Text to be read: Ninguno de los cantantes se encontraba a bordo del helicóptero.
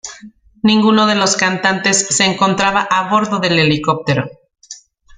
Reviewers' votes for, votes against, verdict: 2, 0, accepted